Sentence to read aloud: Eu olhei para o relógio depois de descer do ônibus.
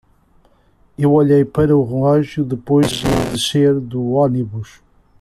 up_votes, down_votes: 0, 2